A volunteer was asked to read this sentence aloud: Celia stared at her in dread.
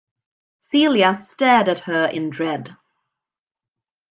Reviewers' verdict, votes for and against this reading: accepted, 2, 0